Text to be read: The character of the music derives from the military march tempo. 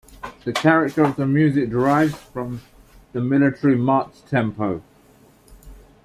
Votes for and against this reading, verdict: 1, 2, rejected